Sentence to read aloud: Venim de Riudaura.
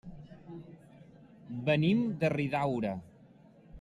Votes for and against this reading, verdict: 0, 2, rejected